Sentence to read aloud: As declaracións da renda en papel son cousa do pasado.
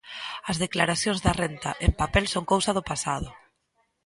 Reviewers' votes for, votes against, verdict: 2, 1, accepted